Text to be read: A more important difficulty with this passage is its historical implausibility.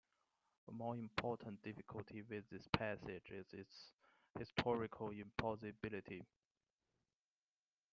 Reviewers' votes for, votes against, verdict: 1, 2, rejected